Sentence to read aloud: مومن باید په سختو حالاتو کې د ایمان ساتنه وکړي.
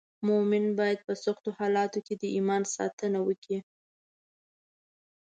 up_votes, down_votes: 2, 0